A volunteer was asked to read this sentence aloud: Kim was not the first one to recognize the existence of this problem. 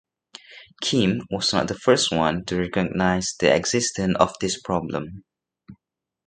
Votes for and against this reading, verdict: 1, 2, rejected